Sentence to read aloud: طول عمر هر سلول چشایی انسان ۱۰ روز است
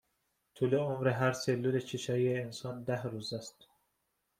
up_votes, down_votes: 0, 2